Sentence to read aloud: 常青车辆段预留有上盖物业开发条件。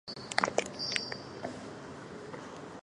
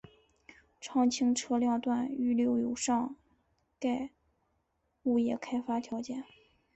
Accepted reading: second